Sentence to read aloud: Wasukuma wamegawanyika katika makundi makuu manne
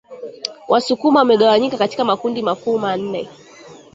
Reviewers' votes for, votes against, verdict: 0, 2, rejected